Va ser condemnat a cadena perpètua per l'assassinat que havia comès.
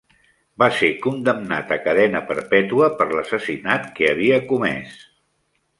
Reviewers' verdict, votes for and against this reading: accepted, 3, 0